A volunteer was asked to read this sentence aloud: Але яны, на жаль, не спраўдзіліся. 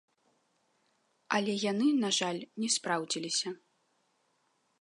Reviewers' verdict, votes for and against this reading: accepted, 2, 1